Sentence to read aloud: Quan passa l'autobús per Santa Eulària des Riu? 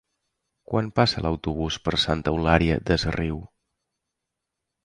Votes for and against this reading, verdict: 3, 0, accepted